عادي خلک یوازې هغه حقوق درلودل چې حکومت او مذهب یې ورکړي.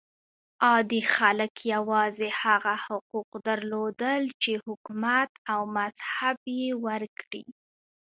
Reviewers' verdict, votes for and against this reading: accepted, 2, 0